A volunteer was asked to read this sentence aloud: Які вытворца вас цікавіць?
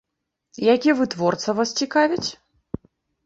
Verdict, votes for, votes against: accepted, 2, 0